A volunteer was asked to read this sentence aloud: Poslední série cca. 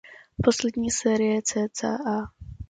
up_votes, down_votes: 2, 0